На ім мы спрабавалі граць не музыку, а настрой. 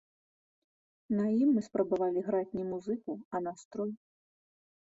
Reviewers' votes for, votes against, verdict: 1, 2, rejected